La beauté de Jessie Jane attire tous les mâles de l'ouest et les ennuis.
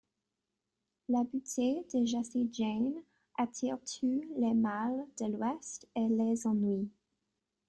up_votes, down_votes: 0, 3